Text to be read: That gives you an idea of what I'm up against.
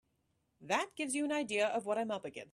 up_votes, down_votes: 0, 3